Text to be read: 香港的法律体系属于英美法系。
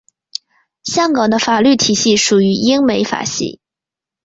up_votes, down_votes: 2, 0